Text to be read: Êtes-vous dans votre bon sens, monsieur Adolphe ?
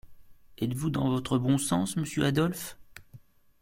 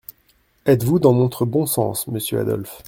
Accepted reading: first